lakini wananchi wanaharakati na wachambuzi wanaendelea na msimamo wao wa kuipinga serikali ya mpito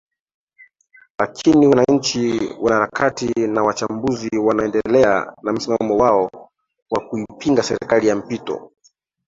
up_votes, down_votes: 2, 3